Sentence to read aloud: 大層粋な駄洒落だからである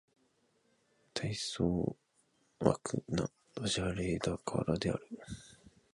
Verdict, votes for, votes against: rejected, 1, 2